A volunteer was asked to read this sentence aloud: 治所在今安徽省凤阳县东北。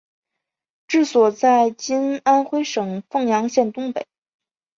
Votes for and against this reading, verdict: 3, 0, accepted